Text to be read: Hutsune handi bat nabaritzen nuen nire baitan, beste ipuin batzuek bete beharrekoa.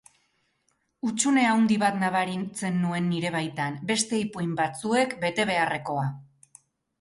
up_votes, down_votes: 0, 2